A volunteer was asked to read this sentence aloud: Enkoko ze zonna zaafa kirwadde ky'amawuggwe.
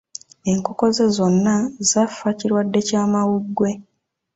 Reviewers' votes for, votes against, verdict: 2, 0, accepted